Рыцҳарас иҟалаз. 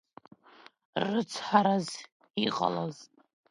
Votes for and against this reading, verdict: 1, 2, rejected